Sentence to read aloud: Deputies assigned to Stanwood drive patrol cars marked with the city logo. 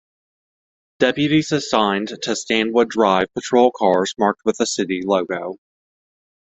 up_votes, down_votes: 2, 0